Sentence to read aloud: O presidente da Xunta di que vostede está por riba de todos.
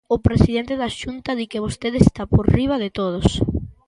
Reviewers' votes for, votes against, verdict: 2, 0, accepted